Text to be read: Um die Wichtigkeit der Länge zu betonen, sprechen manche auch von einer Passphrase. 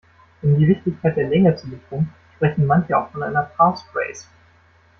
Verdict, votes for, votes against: rejected, 1, 2